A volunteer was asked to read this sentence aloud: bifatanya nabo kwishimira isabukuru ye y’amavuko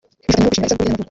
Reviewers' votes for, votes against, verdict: 0, 2, rejected